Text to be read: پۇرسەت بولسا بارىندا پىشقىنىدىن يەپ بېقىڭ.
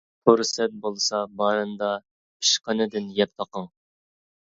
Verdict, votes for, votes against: accepted, 2, 0